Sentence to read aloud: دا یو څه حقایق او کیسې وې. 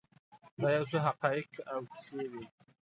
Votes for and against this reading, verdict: 2, 0, accepted